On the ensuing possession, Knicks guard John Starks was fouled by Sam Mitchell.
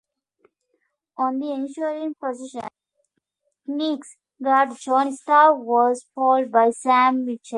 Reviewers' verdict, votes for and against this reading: rejected, 1, 2